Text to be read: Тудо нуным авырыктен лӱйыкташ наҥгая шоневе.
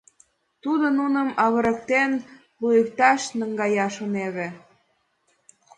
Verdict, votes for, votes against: rejected, 1, 2